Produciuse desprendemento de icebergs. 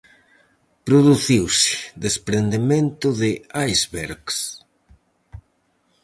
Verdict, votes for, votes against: rejected, 0, 4